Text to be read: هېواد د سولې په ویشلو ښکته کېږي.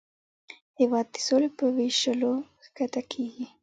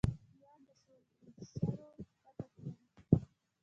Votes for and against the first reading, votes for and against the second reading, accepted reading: 2, 1, 1, 2, first